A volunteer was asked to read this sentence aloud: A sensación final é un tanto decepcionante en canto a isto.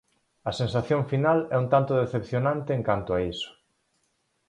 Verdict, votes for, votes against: rejected, 2, 4